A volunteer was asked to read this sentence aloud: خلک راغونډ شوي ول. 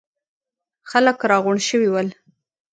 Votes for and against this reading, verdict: 1, 2, rejected